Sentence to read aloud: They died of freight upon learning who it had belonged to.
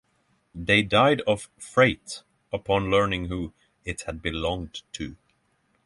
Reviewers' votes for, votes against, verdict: 6, 0, accepted